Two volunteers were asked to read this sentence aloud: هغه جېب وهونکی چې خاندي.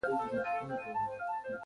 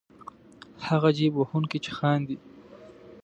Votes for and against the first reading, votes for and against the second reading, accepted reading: 0, 2, 2, 0, second